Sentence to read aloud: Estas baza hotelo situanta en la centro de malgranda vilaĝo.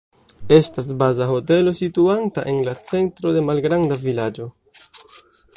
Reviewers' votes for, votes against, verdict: 2, 0, accepted